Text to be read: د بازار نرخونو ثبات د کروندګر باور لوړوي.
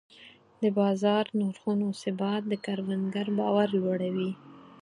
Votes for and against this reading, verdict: 4, 2, accepted